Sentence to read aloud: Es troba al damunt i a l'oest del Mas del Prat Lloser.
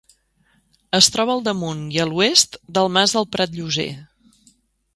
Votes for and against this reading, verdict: 2, 0, accepted